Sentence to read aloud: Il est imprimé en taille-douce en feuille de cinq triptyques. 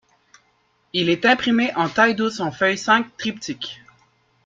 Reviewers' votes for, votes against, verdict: 1, 2, rejected